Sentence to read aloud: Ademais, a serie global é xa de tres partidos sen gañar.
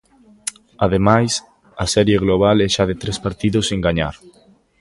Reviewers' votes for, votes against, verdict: 2, 0, accepted